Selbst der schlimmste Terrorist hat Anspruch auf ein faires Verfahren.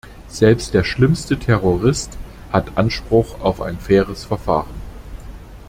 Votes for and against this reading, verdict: 2, 0, accepted